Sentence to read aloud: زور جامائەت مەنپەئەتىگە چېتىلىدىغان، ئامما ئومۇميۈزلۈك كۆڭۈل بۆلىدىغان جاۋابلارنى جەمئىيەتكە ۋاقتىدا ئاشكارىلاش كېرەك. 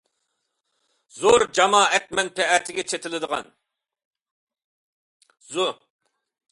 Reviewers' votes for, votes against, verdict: 0, 2, rejected